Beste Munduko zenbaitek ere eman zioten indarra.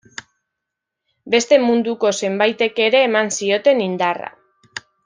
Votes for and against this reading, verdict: 2, 0, accepted